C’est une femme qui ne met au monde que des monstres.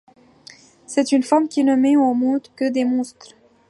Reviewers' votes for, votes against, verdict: 2, 0, accepted